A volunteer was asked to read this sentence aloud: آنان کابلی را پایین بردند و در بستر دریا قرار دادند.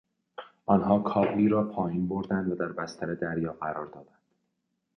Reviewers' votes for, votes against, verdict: 0, 2, rejected